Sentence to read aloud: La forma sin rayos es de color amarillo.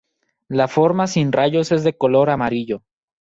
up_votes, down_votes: 0, 2